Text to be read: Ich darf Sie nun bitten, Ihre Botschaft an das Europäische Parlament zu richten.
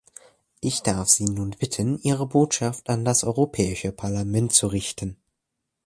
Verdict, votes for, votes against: accepted, 2, 0